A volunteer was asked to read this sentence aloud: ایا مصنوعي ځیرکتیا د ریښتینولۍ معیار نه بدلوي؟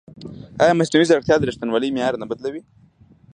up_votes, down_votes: 2, 0